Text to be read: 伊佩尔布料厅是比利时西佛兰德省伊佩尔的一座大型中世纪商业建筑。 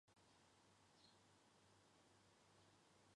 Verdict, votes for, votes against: rejected, 0, 2